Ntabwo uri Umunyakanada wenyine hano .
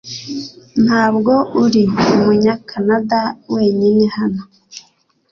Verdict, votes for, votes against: accepted, 2, 0